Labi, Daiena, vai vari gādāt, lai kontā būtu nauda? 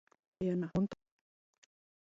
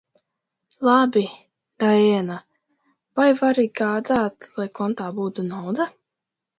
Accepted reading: second